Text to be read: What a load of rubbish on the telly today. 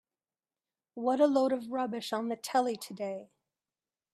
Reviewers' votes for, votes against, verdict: 2, 0, accepted